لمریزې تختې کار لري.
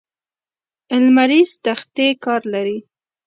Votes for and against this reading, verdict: 1, 2, rejected